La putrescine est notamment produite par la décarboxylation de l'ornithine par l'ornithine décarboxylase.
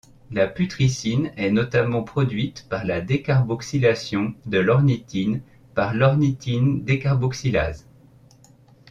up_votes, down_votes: 2, 1